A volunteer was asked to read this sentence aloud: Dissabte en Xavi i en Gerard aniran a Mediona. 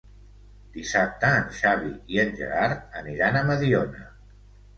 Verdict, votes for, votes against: accepted, 2, 0